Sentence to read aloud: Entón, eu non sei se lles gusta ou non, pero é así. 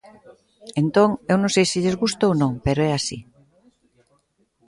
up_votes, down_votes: 2, 1